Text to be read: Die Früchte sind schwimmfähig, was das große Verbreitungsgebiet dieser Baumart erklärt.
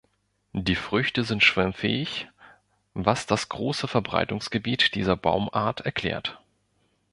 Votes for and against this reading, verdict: 2, 0, accepted